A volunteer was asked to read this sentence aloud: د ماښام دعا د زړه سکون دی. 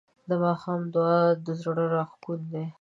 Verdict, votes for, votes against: accepted, 2, 0